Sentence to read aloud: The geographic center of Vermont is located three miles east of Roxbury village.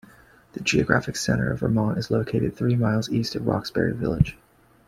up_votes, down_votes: 2, 1